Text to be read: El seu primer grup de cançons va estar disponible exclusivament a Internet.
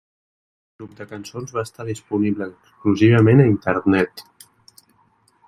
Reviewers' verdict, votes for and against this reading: rejected, 0, 2